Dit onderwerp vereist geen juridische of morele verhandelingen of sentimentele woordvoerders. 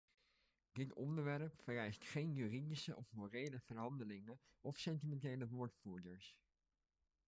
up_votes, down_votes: 1, 2